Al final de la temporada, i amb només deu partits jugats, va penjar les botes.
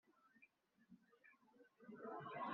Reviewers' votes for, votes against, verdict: 0, 2, rejected